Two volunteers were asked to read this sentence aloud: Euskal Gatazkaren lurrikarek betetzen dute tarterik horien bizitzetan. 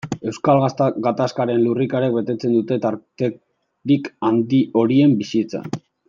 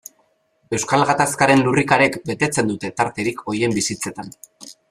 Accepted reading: second